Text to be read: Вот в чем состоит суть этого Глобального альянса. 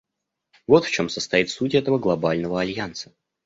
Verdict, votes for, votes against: accepted, 2, 0